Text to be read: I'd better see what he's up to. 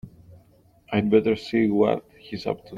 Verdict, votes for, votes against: rejected, 1, 2